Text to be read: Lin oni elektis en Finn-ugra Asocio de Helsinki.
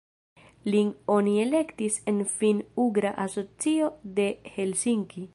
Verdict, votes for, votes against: accepted, 2, 0